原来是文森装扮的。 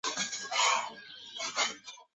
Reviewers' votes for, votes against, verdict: 0, 2, rejected